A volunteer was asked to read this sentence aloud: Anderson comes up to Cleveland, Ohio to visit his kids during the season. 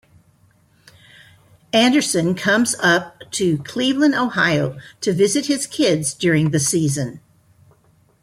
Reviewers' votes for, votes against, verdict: 1, 2, rejected